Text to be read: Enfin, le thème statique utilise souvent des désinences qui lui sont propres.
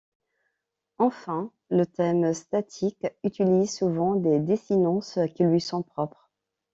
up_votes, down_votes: 2, 0